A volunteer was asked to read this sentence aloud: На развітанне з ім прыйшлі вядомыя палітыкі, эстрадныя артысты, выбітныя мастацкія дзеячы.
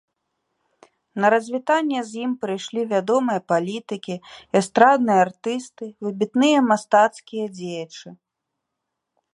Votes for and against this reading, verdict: 1, 2, rejected